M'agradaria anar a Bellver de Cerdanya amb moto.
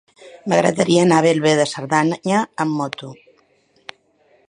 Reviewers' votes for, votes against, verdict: 0, 2, rejected